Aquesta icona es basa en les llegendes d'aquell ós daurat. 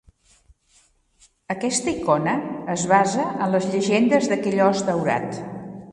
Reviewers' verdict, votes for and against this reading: rejected, 1, 2